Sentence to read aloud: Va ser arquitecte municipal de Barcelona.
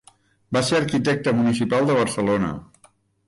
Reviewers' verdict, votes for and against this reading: accepted, 2, 0